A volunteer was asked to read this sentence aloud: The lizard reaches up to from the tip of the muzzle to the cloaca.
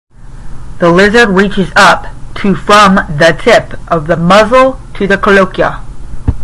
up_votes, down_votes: 0, 5